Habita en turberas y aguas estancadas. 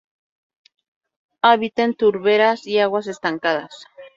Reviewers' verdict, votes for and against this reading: accepted, 2, 0